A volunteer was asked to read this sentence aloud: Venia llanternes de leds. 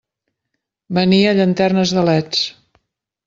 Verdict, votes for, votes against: accepted, 3, 0